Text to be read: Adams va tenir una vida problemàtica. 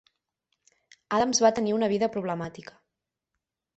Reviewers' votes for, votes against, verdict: 12, 0, accepted